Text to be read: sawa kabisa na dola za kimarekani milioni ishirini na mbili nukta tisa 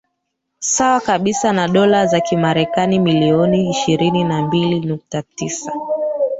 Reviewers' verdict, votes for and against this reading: accepted, 2, 1